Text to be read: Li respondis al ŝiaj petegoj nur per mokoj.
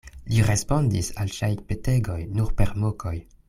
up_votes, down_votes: 2, 1